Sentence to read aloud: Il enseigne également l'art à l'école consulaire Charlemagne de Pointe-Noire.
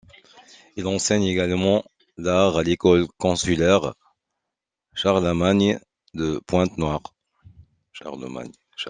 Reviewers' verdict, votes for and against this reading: rejected, 0, 2